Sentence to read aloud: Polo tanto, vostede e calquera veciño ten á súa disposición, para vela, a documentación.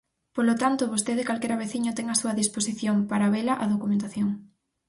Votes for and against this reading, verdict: 4, 0, accepted